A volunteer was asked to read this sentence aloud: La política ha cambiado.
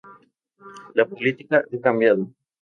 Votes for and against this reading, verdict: 2, 2, rejected